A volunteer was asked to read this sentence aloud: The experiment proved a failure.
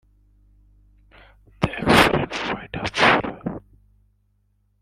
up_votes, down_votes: 0, 2